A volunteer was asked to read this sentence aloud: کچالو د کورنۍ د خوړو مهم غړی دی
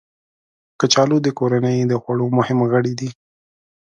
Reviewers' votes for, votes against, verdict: 2, 0, accepted